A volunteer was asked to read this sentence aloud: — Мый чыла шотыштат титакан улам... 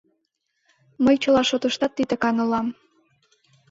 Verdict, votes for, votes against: rejected, 1, 2